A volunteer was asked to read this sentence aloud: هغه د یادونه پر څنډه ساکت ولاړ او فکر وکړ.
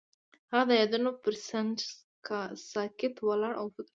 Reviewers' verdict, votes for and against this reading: rejected, 1, 2